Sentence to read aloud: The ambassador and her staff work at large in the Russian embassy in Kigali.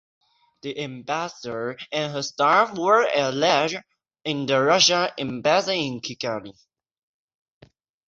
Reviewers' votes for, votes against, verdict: 6, 0, accepted